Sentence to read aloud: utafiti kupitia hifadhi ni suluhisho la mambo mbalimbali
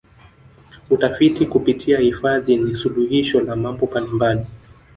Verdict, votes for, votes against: rejected, 1, 2